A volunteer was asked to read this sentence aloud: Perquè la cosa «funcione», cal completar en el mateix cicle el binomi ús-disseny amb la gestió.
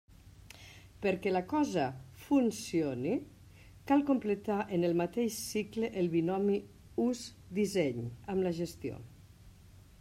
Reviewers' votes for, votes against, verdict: 2, 0, accepted